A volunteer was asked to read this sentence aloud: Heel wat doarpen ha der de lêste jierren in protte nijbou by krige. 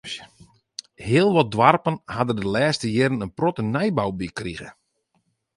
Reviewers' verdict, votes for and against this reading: rejected, 2, 2